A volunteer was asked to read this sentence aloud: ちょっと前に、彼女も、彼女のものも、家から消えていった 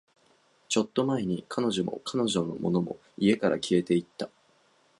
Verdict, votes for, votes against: accepted, 7, 2